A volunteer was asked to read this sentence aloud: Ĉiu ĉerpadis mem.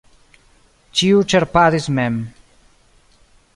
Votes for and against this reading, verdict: 3, 0, accepted